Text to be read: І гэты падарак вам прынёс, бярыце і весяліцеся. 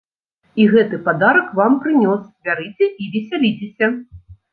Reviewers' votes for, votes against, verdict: 2, 0, accepted